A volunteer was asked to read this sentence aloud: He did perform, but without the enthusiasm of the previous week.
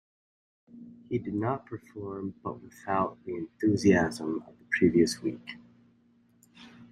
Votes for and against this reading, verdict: 0, 2, rejected